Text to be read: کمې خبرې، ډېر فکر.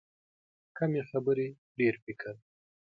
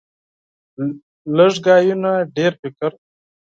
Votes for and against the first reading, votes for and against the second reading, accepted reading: 2, 0, 0, 6, first